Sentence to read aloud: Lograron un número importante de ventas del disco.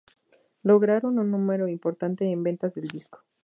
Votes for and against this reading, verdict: 4, 0, accepted